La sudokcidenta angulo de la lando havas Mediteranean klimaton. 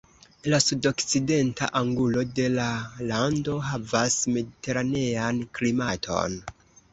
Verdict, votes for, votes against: accepted, 2, 0